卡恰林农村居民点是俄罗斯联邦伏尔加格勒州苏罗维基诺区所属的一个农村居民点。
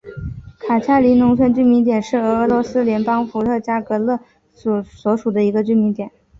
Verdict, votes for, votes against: accepted, 2, 0